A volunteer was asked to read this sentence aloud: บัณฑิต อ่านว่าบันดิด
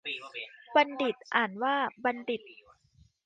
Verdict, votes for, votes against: accepted, 2, 0